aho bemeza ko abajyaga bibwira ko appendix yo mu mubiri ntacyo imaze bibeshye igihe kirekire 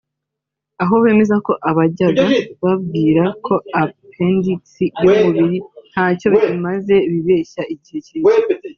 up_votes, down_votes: 1, 2